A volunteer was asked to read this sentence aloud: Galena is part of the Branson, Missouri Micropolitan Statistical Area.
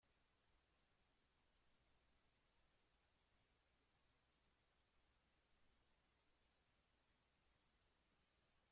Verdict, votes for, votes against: rejected, 0, 2